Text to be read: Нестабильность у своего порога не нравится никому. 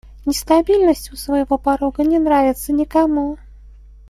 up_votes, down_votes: 2, 0